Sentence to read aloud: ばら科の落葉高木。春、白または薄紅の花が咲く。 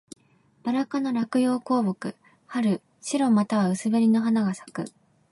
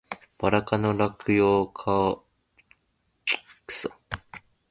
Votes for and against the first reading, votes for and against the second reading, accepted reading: 2, 1, 0, 2, first